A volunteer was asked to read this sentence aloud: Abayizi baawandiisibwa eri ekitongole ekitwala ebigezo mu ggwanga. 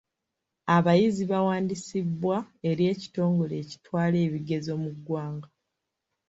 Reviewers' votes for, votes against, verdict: 2, 0, accepted